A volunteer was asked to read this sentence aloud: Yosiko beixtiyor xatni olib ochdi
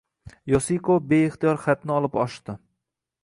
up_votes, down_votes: 2, 0